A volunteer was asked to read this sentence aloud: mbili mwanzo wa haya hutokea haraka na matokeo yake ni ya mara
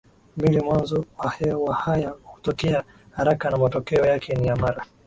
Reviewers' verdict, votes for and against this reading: accepted, 5, 2